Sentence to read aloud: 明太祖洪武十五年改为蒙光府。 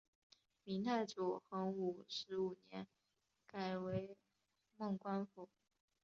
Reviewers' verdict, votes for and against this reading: accepted, 3, 0